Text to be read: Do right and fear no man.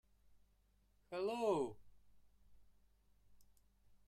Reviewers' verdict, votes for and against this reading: rejected, 0, 2